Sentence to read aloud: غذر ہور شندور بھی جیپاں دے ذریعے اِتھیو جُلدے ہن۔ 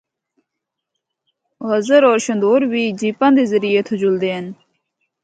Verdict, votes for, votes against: accepted, 2, 0